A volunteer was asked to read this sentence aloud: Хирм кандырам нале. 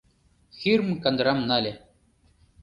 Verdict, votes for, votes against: accepted, 2, 0